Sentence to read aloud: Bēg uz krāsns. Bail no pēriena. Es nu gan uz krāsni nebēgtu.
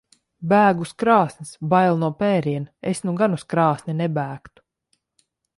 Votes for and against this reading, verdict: 2, 0, accepted